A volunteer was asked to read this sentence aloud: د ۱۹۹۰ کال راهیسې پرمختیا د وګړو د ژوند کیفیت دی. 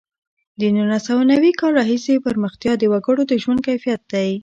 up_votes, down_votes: 0, 2